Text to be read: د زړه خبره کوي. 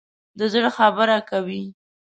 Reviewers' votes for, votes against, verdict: 6, 1, accepted